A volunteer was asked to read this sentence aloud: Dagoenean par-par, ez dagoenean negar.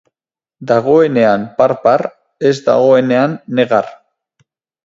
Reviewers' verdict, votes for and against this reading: accepted, 4, 0